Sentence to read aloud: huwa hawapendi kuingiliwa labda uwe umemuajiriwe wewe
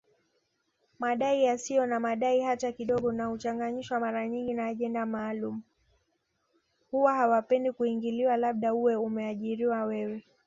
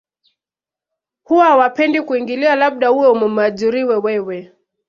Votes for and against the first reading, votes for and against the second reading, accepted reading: 1, 2, 2, 0, second